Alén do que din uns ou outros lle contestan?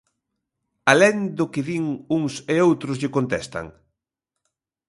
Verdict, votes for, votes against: rejected, 0, 2